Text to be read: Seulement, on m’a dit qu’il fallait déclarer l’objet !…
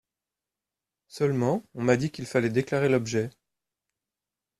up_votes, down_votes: 2, 0